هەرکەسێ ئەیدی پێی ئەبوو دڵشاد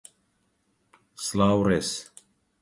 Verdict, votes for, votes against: rejected, 0, 2